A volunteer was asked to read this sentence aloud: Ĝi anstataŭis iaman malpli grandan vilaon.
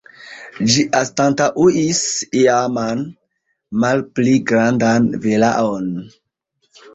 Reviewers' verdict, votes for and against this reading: rejected, 0, 2